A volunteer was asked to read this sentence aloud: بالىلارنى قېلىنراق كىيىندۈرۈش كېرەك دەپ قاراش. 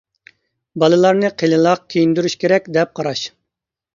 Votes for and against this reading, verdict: 0, 2, rejected